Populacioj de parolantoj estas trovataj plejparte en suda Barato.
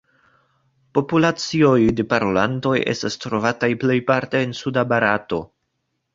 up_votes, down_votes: 2, 0